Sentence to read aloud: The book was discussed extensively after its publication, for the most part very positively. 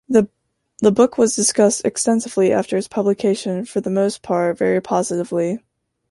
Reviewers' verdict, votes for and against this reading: rejected, 1, 2